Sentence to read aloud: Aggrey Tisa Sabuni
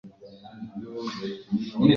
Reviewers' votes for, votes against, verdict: 0, 2, rejected